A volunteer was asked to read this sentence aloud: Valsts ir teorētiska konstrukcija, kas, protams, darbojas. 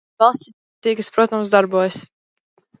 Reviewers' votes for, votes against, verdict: 1, 2, rejected